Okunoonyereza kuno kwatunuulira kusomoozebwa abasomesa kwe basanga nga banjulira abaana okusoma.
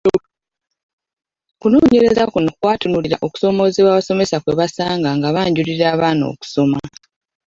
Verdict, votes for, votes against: rejected, 1, 2